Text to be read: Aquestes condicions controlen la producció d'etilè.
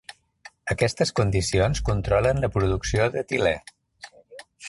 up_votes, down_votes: 0, 2